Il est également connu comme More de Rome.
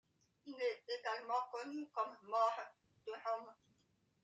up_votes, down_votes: 2, 0